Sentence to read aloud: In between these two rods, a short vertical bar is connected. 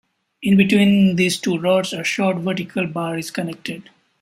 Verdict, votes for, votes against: accepted, 2, 0